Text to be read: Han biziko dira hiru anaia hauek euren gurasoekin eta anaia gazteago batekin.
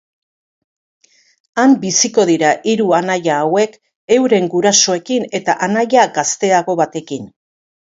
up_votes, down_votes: 4, 0